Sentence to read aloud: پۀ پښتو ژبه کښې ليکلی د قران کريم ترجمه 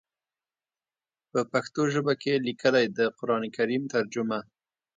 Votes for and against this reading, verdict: 2, 0, accepted